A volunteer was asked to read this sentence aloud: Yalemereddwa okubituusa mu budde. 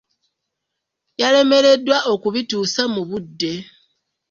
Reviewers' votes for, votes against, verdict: 2, 0, accepted